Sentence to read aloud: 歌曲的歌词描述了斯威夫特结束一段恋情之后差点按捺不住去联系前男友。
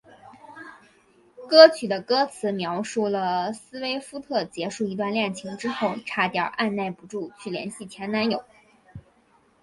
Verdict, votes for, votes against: rejected, 1, 2